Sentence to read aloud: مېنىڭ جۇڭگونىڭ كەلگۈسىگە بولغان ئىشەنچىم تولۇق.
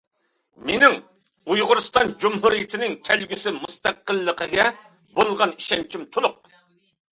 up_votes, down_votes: 0, 2